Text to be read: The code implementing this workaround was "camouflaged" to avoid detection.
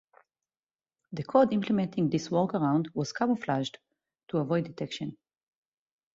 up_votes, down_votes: 4, 0